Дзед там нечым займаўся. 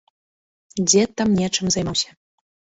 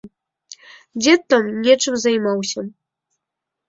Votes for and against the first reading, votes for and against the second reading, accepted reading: 1, 2, 2, 0, second